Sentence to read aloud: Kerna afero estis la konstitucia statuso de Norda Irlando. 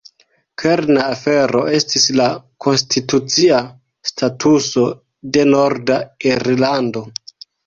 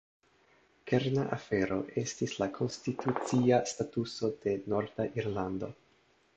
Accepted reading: first